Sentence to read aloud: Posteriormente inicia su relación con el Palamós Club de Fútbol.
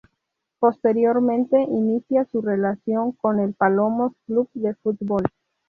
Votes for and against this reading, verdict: 0, 2, rejected